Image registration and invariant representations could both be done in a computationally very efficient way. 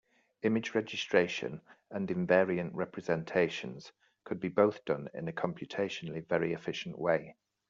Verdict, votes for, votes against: rejected, 0, 2